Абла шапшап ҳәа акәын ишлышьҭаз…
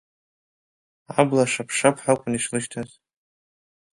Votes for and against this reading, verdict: 2, 0, accepted